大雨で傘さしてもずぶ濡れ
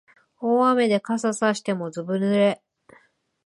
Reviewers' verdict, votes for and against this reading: accepted, 3, 0